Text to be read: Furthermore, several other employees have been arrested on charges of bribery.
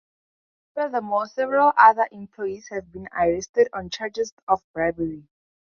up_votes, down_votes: 4, 0